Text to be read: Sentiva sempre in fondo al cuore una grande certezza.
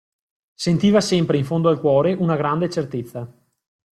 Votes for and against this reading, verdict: 2, 0, accepted